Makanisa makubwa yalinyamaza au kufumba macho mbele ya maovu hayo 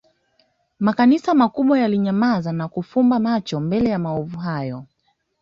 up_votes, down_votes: 2, 0